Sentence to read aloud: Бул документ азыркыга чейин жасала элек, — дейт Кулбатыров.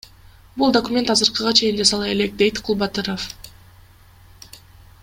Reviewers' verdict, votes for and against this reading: accepted, 2, 0